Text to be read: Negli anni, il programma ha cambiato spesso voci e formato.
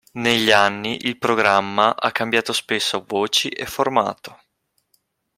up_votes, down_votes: 2, 0